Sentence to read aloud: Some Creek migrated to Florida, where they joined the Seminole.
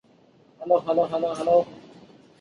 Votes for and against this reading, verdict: 0, 2, rejected